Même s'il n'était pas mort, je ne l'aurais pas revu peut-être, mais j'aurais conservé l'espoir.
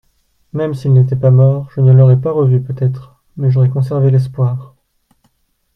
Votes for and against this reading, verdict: 2, 1, accepted